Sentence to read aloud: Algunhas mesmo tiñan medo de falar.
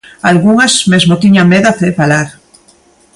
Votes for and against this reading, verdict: 0, 2, rejected